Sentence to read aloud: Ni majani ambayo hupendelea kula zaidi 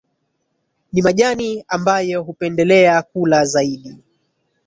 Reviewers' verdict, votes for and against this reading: rejected, 1, 2